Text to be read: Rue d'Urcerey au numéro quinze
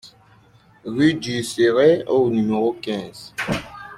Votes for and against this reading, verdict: 2, 0, accepted